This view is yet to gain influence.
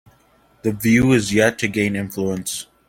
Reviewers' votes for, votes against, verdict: 1, 2, rejected